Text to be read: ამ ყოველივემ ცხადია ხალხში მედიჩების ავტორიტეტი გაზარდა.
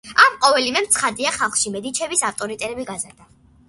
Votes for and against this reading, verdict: 2, 0, accepted